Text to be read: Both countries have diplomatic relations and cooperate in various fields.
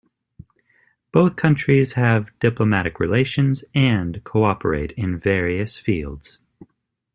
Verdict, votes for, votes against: accepted, 2, 0